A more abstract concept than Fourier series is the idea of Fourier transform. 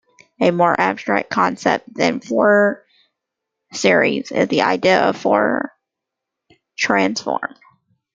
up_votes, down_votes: 1, 2